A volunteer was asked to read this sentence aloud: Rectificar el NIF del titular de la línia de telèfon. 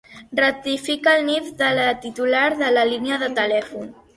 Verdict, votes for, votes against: rejected, 0, 3